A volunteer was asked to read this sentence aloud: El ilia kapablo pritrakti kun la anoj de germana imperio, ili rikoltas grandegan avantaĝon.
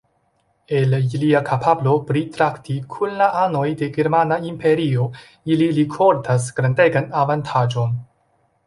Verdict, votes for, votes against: accepted, 2, 0